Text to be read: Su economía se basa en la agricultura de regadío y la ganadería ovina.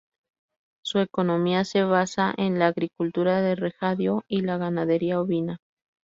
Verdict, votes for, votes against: rejected, 0, 2